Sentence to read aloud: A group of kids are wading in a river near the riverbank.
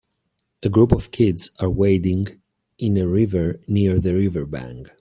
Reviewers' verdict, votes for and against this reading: rejected, 1, 2